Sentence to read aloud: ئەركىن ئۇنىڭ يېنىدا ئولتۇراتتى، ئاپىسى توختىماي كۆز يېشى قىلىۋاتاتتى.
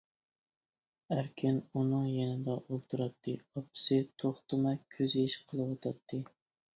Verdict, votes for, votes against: accepted, 2, 0